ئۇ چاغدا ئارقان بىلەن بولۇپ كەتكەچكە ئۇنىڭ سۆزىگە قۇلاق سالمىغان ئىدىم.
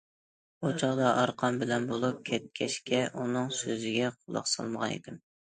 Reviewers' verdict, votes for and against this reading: accepted, 2, 0